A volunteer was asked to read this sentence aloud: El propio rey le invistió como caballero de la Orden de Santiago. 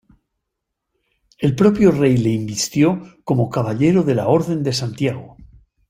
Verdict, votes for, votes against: accepted, 2, 0